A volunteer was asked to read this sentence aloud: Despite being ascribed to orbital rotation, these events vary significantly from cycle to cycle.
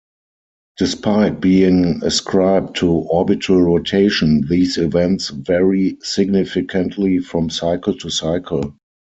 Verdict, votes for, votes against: rejected, 0, 4